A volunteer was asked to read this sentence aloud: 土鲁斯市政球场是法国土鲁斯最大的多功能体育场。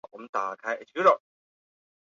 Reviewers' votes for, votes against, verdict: 0, 3, rejected